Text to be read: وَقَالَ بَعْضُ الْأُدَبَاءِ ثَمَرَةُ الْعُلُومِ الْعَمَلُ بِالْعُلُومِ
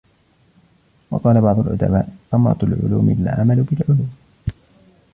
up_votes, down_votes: 2, 1